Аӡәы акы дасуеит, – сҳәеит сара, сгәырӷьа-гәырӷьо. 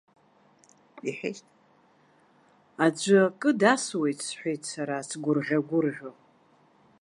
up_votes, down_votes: 1, 2